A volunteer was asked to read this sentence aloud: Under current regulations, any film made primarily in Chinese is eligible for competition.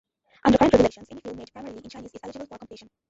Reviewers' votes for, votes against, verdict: 0, 2, rejected